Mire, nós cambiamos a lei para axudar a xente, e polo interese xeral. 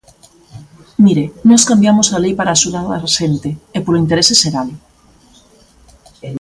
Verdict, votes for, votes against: accepted, 2, 0